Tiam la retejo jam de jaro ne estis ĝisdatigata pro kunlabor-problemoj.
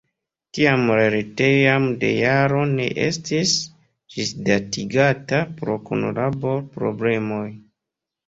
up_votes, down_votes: 1, 3